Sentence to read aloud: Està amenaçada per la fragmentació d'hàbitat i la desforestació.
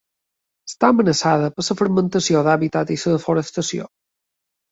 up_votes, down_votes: 1, 3